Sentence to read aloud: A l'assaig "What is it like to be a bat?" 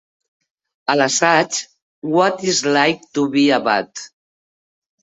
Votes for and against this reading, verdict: 0, 2, rejected